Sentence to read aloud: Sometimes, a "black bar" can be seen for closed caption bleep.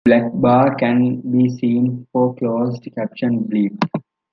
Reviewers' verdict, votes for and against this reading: rejected, 0, 2